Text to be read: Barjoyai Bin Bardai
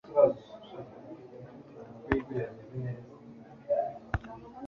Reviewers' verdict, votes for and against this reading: rejected, 0, 2